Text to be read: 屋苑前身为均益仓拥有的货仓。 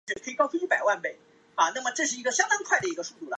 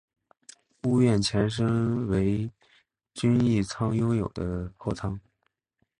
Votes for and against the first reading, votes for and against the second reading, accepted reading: 4, 5, 4, 0, second